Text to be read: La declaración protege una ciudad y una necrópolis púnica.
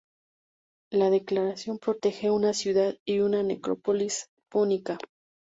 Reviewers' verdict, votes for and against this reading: rejected, 0, 2